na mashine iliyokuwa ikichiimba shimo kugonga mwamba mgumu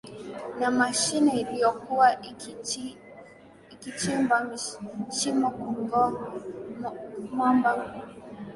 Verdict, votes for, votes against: rejected, 1, 2